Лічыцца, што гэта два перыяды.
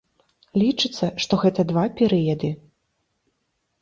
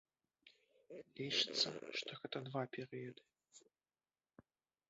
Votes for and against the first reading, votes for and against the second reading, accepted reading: 2, 0, 1, 2, first